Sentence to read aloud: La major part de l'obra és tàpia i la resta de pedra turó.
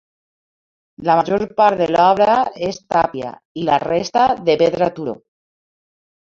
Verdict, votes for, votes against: accepted, 2, 0